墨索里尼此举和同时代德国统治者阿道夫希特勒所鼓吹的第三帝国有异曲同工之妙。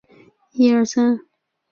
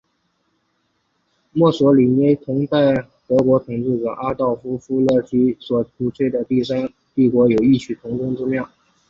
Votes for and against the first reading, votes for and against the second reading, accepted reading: 1, 2, 2, 0, second